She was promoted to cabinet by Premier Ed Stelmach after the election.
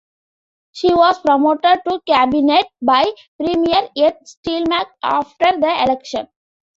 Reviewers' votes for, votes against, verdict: 2, 0, accepted